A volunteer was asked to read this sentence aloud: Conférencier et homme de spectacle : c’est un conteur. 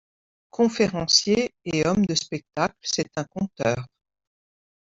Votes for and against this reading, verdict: 2, 0, accepted